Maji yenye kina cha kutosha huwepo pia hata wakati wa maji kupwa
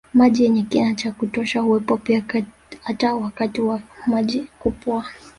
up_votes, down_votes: 1, 2